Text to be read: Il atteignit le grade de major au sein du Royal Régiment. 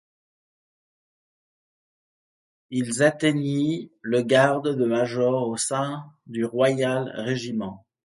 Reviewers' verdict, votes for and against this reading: rejected, 0, 2